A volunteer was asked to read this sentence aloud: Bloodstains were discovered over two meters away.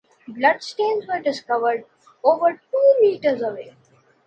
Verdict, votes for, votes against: accepted, 2, 0